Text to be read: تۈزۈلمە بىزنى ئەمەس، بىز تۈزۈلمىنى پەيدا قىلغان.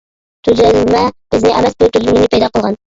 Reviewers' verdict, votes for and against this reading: rejected, 0, 2